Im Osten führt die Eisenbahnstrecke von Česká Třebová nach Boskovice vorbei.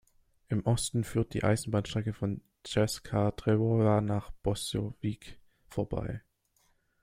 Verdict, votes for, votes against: rejected, 1, 2